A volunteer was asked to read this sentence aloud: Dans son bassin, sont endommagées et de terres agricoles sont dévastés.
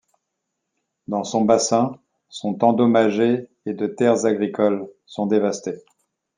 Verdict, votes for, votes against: accepted, 2, 0